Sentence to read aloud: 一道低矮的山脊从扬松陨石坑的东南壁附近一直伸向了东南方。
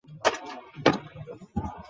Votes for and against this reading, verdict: 0, 2, rejected